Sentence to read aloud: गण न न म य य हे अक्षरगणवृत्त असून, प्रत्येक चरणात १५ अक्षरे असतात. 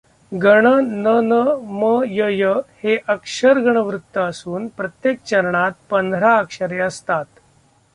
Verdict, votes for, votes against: rejected, 0, 2